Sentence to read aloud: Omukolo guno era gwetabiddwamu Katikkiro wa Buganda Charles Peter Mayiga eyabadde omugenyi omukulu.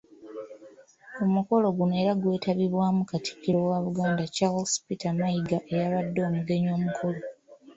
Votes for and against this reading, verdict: 2, 3, rejected